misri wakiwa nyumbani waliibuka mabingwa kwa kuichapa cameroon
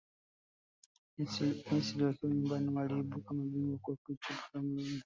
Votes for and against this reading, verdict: 1, 2, rejected